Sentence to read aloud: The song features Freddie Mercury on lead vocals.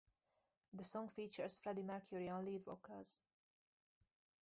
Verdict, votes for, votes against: rejected, 0, 2